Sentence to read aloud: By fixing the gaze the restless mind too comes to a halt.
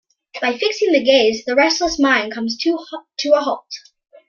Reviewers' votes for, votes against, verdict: 1, 2, rejected